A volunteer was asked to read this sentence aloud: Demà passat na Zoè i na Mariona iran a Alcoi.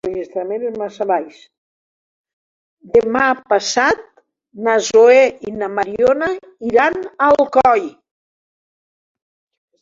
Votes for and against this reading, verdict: 0, 2, rejected